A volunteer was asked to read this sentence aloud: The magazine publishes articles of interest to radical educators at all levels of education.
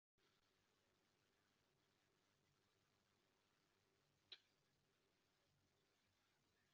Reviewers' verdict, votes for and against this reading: rejected, 0, 2